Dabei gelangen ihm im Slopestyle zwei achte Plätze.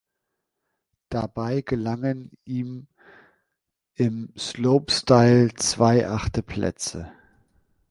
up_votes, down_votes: 2, 0